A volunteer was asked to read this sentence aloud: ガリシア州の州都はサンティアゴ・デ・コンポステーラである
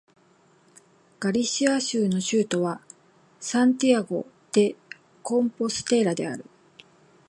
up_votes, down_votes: 2, 0